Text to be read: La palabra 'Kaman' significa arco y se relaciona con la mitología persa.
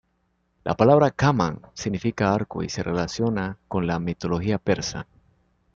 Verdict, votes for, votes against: accepted, 2, 1